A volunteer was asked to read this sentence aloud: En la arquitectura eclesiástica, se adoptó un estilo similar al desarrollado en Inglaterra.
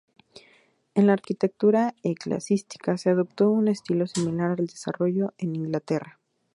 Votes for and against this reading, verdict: 2, 0, accepted